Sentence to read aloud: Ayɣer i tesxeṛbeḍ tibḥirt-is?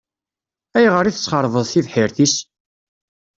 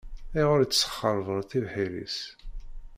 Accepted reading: first